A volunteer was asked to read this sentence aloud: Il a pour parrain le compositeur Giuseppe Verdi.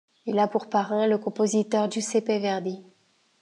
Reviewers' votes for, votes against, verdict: 2, 0, accepted